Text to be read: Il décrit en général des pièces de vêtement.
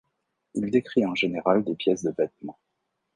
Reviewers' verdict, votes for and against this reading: accepted, 2, 0